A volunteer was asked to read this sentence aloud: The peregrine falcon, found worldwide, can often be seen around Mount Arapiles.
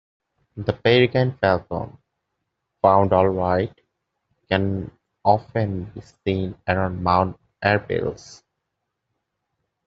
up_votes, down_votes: 0, 2